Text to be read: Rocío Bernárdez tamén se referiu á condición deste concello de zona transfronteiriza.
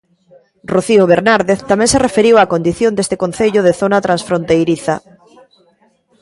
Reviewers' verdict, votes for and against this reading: rejected, 1, 2